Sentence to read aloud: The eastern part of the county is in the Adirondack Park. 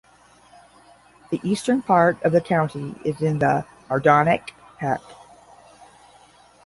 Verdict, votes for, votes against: rejected, 0, 10